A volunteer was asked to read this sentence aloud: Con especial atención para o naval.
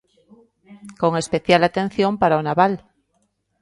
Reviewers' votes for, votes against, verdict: 2, 1, accepted